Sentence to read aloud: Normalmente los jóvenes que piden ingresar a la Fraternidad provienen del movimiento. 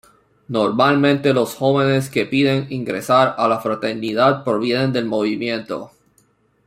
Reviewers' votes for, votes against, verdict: 3, 0, accepted